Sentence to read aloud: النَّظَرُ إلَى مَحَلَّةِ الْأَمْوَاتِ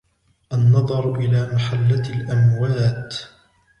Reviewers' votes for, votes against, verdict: 1, 2, rejected